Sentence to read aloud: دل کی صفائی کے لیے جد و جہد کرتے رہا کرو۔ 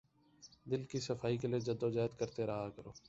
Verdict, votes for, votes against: rejected, 2, 3